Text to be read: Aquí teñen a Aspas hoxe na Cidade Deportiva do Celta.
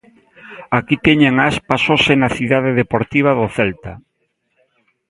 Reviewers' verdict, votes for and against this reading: accepted, 2, 0